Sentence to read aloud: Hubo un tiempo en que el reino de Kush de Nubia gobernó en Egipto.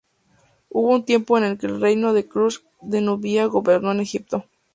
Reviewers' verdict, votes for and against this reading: rejected, 2, 2